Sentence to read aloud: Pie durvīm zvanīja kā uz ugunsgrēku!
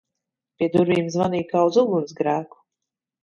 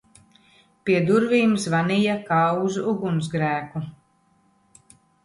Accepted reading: second